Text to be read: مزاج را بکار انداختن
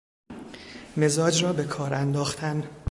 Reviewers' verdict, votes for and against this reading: accepted, 2, 0